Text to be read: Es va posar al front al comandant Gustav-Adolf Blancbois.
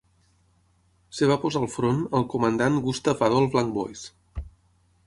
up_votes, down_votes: 0, 6